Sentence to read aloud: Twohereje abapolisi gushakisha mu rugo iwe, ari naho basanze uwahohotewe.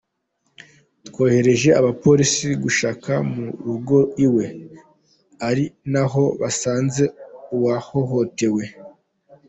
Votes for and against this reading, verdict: 2, 0, accepted